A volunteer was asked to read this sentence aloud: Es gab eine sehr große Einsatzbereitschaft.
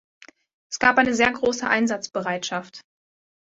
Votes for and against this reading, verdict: 2, 0, accepted